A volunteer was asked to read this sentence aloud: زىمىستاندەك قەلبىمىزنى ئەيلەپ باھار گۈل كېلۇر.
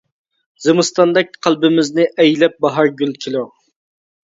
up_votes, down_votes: 2, 0